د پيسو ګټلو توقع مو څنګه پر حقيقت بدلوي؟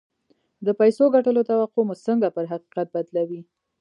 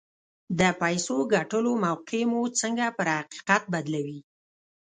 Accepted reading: first